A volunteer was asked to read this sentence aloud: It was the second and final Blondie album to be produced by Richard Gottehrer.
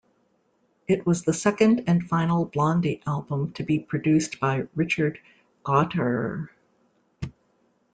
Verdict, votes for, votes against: rejected, 0, 2